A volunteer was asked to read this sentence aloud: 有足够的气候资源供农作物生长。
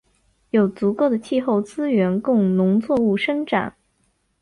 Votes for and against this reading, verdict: 3, 0, accepted